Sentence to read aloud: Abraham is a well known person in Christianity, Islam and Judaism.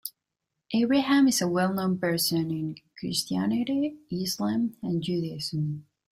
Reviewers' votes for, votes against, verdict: 0, 2, rejected